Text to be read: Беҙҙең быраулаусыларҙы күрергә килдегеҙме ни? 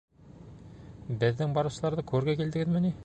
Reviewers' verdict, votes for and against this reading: rejected, 1, 2